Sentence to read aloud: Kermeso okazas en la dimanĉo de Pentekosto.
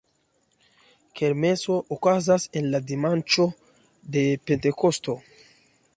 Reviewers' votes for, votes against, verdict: 2, 0, accepted